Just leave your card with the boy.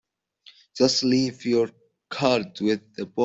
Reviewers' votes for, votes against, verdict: 0, 2, rejected